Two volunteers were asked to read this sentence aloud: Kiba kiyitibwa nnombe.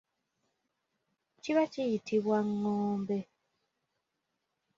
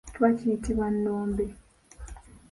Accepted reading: first